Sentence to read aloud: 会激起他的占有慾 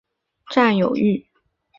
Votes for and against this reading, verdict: 0, 4, rejected